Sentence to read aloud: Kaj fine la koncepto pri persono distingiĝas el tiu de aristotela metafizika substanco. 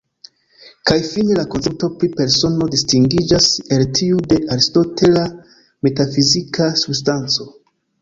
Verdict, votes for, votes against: accepted, 2, 0